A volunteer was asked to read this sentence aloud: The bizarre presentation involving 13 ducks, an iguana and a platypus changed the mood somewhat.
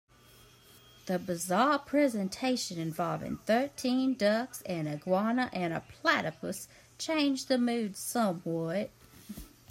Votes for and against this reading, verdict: 0, 2, rejected